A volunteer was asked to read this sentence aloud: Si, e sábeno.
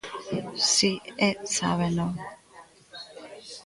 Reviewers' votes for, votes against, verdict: 1, 2, rejected